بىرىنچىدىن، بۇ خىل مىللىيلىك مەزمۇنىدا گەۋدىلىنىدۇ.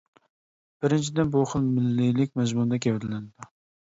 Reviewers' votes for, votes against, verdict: 2, 0, accepted